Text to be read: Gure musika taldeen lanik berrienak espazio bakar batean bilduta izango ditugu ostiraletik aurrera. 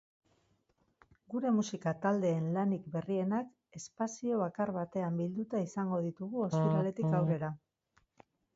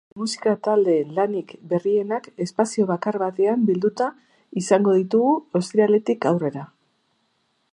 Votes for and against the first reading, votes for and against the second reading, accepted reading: 6, 4, 0, 2, first